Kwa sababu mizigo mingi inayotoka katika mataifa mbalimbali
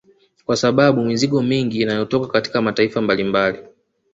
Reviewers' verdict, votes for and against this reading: rejected, 0, 2